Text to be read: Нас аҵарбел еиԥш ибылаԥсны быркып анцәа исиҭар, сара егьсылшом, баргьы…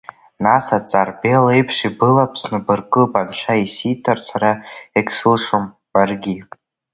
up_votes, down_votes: 2, 0